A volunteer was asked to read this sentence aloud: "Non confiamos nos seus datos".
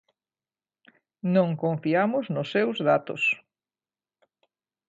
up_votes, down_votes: 2, 0